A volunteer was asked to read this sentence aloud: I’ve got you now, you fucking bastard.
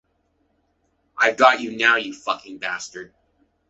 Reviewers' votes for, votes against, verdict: 2, 0, accepted